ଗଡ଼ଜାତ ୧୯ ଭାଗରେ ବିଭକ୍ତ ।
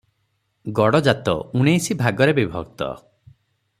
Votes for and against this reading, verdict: 0, 2, rejected